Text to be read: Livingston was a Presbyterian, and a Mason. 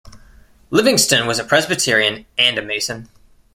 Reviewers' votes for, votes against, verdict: 2, 0, accepted